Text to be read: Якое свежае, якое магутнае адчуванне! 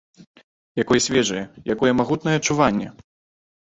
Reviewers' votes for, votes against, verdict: 2, 0, accepted